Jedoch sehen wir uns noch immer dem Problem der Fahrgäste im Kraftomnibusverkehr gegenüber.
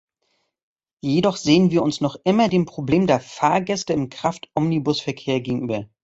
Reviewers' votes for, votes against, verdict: 2, 1, accepted